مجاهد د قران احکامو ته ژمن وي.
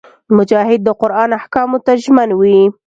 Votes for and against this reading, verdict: 2, 0, accepted